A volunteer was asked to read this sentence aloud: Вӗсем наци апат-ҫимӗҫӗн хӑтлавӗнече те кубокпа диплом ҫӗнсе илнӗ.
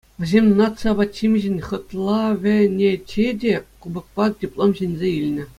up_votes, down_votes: 2, 0